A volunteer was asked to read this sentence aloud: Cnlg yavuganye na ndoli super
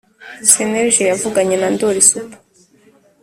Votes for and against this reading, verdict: 3, 0, accepted